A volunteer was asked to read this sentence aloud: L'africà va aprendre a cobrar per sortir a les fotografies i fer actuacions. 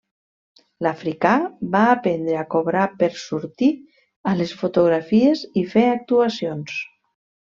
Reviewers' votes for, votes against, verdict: 3, 1, accepted